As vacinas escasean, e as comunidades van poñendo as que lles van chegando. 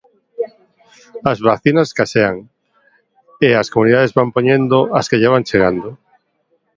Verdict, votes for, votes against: rejected, 0, 2